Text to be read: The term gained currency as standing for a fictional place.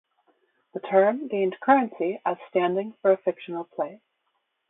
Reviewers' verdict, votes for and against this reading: accepted, 2, 0